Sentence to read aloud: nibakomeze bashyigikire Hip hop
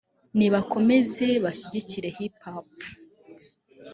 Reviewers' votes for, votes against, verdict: 1, 2, rejected